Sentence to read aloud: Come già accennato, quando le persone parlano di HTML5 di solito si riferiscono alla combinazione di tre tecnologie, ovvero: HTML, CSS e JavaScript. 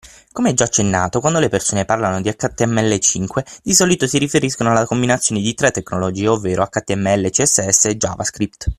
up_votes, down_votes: 0, 2